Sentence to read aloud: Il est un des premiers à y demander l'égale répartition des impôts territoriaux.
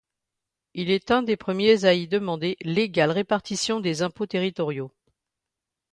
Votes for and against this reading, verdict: 2, 0, accepted